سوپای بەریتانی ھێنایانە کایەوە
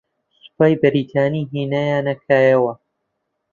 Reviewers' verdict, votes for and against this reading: accepted, 2, 0